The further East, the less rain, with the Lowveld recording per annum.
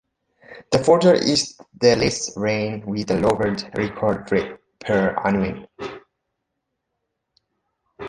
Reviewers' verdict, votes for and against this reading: rejected, 0, 2